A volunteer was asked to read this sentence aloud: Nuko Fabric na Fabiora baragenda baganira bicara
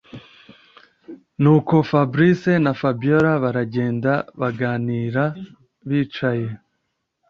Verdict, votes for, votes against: rejected, 0, 2